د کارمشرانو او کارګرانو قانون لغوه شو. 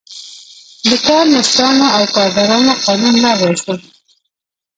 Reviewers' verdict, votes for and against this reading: rejected, 1, 2